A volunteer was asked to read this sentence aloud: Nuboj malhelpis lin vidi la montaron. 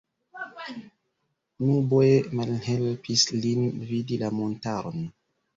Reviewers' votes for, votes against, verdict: 1, 2, rejected